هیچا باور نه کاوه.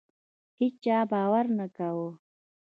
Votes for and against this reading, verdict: 1, 2, rejected